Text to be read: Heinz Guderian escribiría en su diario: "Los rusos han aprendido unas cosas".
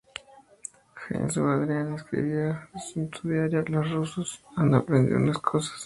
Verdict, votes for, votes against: rejected, 0, 2